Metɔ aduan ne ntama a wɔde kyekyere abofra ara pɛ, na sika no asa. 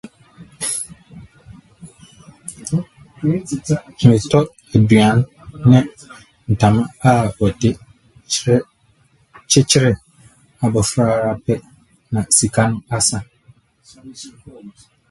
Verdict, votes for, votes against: rejected, 0, 2